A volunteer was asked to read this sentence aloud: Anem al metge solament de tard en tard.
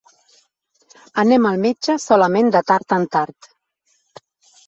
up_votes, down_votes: 5, 0